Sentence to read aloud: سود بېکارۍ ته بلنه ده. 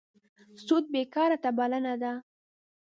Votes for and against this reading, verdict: 1, 2, rejected